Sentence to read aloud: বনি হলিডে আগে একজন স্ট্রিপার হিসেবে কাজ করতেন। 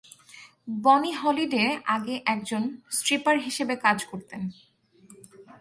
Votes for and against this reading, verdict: 4, 0, accepted